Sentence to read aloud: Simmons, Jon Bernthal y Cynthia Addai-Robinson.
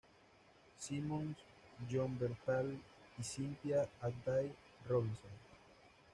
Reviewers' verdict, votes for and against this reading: rejected, 1, 2